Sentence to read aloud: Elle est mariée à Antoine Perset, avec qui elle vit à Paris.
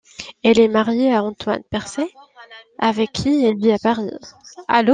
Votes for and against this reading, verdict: 0, 2, rejected